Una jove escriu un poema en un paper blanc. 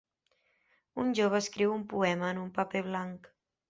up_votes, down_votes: 0, 2